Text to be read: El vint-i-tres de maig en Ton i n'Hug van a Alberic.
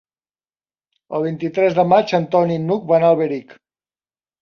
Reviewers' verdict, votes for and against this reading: accepted, 3, 0